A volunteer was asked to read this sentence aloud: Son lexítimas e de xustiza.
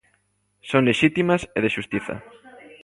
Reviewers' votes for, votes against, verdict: 2, 1, accepted